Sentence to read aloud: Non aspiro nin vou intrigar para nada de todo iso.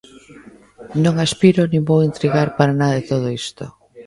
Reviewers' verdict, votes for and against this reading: rejected, 1, 2